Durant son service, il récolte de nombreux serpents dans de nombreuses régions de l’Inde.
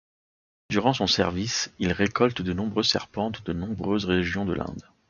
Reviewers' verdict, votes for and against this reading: rejected, 1, 2